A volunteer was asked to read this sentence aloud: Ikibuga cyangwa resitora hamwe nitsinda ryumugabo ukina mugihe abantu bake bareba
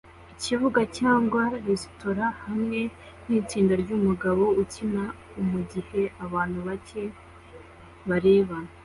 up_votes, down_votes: 2, 0